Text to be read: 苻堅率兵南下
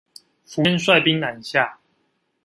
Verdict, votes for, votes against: rejected, 0, 2